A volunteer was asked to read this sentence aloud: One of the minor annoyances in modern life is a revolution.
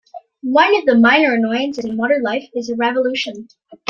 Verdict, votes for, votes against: rejected, 1, 2